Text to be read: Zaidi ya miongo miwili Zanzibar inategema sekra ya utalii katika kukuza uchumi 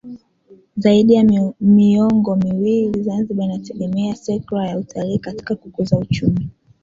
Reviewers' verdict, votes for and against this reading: accepted, 2, 1